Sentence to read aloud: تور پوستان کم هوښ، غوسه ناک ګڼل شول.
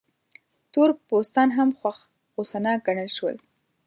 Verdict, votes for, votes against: rejected, 1, 2